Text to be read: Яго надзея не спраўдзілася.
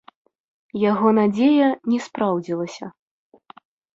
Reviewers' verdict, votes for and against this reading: accepted, 3, 0